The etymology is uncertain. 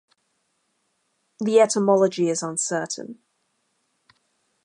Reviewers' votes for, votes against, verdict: 2, 0, accepted